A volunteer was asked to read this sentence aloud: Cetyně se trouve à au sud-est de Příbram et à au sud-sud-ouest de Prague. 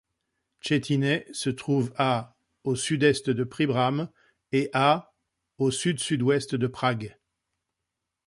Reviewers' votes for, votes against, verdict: 2, 0, accepted